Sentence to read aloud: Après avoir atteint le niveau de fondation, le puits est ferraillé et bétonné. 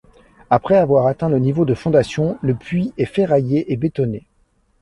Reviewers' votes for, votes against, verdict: 2, 0, accepted